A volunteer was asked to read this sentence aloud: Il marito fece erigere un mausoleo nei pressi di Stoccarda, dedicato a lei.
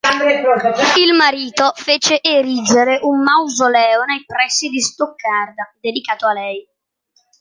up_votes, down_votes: 1, 2